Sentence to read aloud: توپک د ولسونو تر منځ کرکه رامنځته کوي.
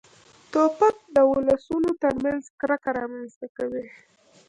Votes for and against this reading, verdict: 1, 2, rejected